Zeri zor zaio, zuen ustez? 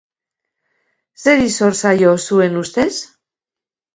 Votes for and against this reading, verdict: 2, 0, accepted